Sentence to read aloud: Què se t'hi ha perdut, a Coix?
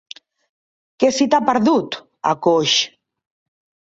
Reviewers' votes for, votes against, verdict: 1, 2, rejected